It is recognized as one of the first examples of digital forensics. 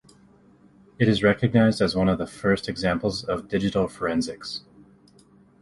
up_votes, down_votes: 2, 0